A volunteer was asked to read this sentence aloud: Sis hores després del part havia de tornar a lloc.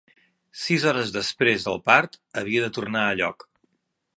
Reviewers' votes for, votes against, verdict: 3, 0, accepted